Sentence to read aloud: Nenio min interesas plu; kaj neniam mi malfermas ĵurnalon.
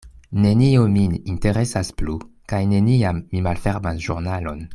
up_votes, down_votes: 2, 0